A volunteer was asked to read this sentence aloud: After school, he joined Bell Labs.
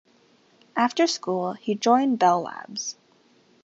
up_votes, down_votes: 2, 0